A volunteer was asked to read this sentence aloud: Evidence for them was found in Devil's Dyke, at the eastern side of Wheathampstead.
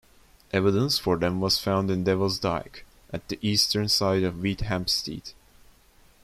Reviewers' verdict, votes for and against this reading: accepted, 2, 0